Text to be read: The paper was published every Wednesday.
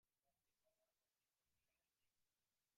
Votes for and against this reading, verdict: 0, 2, rejected